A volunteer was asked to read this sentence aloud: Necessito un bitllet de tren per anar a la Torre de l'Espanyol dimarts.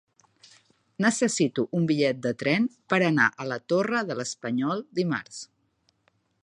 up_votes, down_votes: 3, 0